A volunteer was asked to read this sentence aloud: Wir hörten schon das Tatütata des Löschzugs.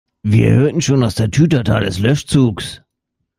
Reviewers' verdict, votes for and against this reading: accepted, 2, 1